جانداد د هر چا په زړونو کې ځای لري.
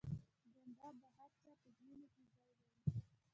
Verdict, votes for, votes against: accepted, 2, 1